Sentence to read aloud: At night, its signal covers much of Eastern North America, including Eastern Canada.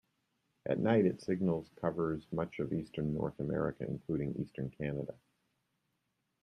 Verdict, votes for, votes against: rejected, 1, 2